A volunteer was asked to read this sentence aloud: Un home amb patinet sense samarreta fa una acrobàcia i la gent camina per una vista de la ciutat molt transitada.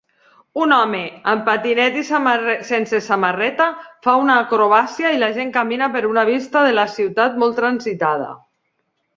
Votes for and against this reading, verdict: 0, 2, rejected